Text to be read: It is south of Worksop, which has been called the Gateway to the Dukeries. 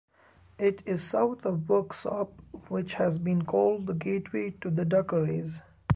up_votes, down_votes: 1, 2